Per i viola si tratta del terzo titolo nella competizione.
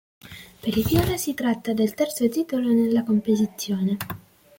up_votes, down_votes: 2, 1